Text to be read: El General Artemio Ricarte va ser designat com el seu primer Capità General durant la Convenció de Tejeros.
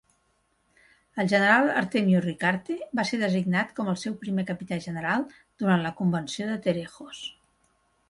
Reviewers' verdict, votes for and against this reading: rejected, 1, 2